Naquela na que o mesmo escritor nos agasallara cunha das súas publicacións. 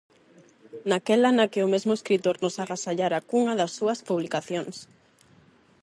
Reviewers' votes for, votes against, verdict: 4, 4, rejected